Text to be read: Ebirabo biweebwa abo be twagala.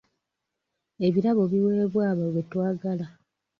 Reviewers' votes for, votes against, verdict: 1, 2, rejected